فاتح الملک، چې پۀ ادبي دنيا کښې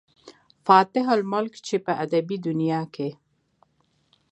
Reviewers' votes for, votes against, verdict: 2, 0, accepted